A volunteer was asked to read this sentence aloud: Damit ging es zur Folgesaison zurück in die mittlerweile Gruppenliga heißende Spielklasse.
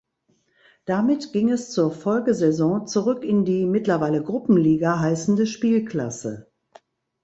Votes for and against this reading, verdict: 2, 0, accepted